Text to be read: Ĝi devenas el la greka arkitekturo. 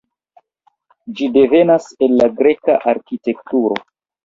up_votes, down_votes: 0, 2